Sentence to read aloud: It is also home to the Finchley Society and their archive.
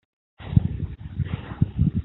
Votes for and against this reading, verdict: 0, 2, rejected